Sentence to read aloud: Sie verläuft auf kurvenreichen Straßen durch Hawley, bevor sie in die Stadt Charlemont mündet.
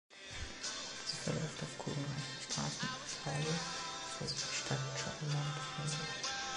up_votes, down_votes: 0, 2